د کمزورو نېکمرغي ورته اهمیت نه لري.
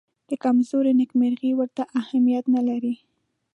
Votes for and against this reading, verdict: 2, 0, accepted